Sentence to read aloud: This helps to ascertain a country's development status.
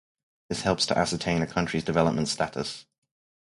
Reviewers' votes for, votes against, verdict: 4, 0, accepted